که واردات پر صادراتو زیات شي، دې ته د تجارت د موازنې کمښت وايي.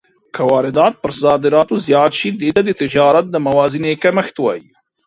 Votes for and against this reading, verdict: 2, 0, accepted